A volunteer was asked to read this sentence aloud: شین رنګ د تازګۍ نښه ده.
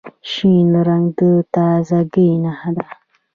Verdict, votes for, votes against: rejected, 1, 2